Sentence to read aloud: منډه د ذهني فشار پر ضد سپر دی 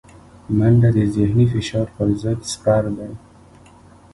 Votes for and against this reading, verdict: 1, 2, rejected